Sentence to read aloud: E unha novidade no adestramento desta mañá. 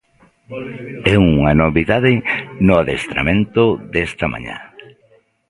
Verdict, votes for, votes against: rejected, 0, 2